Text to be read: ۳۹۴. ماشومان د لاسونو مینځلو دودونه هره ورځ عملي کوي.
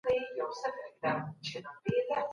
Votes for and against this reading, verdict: 0, 2, rejected